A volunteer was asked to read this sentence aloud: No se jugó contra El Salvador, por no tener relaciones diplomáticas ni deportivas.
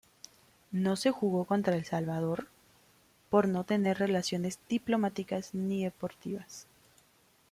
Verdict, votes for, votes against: accepted, 2, 0